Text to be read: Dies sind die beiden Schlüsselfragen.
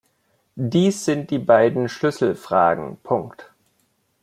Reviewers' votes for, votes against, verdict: 0, 2, rejected